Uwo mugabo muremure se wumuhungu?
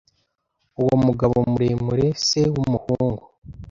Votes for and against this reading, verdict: 2, 0, accepted